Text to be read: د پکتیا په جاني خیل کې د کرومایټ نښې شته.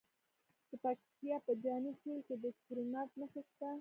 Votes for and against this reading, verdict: 2, 0, accepted